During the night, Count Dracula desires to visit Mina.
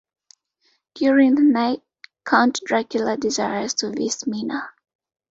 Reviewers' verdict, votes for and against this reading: rejected, 1, 2